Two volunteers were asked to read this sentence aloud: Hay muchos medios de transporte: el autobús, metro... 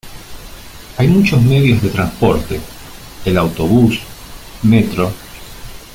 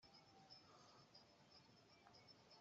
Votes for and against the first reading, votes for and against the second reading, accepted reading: 2, 0, 0, 2, first